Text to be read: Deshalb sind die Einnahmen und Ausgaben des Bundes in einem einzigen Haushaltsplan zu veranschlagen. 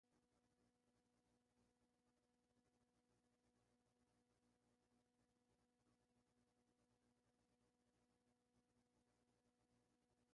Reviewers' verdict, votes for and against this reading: rejected, 0, 2